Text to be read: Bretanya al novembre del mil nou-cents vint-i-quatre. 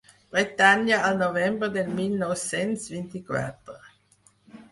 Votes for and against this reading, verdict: 6, 0, accepted